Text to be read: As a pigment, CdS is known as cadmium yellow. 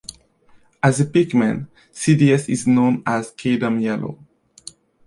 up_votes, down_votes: 0, 3